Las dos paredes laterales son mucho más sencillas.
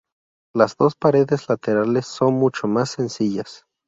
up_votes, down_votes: 2, 0